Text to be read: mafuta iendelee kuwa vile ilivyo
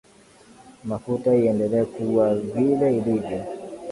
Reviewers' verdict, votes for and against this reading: accepted, 2, 0